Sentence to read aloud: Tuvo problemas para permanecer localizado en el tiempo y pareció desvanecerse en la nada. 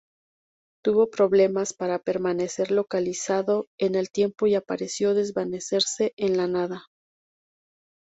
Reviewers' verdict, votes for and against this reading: rejected, 0, 2